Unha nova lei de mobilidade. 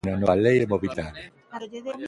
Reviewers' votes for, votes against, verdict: 0, 2, rejected